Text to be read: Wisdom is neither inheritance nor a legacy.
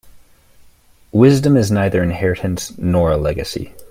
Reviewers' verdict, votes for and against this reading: accepted, 2, 0